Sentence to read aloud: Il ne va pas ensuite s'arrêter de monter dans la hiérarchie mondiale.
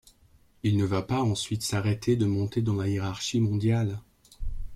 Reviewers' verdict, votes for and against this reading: accepted, 2, 0